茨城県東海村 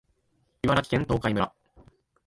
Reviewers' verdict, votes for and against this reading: accepted, 2, 0